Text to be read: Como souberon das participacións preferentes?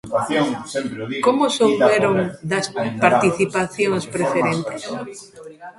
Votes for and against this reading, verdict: 0, 2, rejected